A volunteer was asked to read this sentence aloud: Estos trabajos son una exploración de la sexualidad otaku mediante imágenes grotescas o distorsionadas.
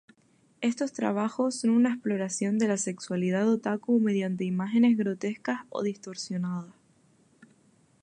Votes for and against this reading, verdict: 0, 2, rejected